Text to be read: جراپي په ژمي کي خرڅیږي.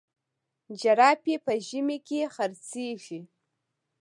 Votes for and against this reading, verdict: 2, 0, accepted